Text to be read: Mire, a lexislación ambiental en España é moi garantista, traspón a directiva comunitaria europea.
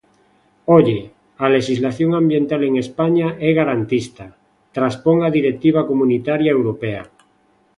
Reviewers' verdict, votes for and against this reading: rejected, 0, 2